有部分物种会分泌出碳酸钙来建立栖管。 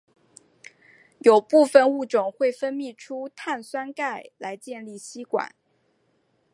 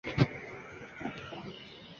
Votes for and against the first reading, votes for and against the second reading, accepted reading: 2, 0, 2, 6, first